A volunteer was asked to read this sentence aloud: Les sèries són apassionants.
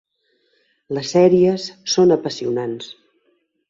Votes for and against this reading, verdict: 5, 0, accepted